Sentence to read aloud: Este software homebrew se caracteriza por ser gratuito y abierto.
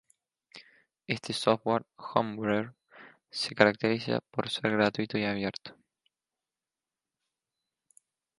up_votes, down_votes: 0, 2